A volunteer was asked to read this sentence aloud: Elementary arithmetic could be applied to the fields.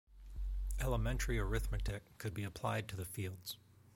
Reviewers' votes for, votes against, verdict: 2, 0, accepted